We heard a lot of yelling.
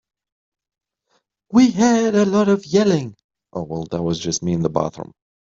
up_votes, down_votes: 1, 3